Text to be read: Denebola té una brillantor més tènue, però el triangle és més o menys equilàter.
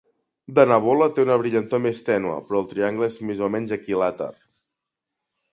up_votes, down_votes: 3, 0